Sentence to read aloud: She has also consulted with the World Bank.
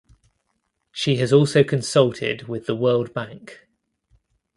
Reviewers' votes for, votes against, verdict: 2, 0, accepted